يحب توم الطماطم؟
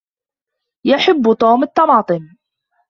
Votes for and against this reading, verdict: 2, 0, accepted